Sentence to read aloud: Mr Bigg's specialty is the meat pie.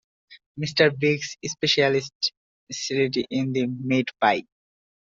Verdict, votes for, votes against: rejected, 0, 2